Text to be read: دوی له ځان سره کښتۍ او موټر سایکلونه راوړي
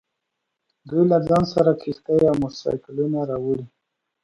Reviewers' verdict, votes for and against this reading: accepted, 2, 0